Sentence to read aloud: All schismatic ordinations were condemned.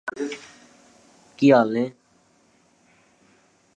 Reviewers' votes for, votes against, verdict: 0, 2, rejected